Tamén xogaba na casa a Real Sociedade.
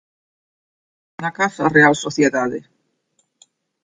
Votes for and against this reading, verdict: 0, 2, rejected